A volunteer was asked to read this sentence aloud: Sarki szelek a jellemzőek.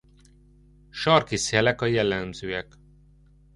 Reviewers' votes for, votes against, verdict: 0, 2, rejected